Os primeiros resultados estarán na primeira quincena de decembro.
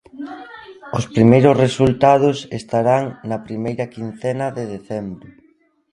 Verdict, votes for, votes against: accepted, 2, 1